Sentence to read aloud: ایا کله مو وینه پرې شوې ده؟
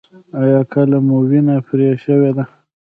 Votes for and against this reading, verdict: 3, 0, accepted